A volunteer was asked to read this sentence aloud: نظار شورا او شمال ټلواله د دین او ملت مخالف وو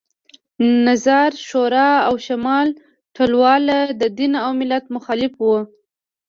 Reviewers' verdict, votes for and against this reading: accepted, 2, 0